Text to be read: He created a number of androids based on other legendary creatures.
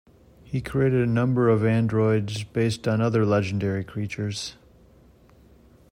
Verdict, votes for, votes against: accepted, 2, 0